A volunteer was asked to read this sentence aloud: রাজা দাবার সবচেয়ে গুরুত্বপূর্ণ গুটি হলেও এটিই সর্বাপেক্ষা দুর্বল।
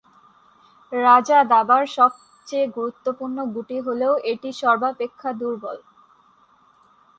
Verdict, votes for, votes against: accepted, 6, 4